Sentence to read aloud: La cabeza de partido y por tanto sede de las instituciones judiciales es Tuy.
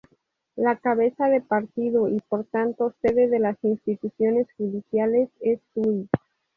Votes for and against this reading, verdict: 2, 0, accepted